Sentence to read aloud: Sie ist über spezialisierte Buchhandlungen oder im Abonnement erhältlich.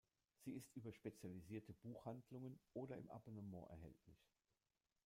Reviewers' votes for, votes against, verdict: 0, 2, rejected